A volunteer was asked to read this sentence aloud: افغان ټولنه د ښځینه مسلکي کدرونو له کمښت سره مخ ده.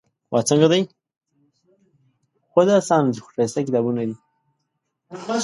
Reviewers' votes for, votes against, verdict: 0, 2, rejected